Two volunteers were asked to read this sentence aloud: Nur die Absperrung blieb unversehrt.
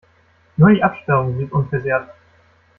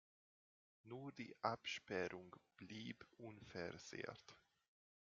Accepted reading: second